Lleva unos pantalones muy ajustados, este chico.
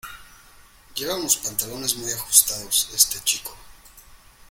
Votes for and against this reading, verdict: 2, 0, accepted